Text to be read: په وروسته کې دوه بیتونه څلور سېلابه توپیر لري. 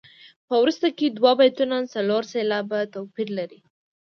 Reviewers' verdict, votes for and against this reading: accepted, 2, 0